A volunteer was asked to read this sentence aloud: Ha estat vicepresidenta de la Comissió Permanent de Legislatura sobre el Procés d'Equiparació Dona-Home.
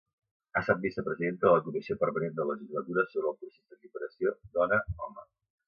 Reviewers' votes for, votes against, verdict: 0, 2, rejected